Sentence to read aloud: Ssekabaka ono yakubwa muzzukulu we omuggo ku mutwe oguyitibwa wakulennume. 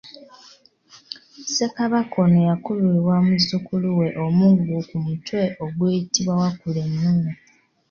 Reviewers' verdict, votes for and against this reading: rejected, 1, 2